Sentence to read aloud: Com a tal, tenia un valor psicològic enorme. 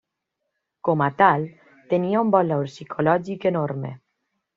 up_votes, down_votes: 2, 0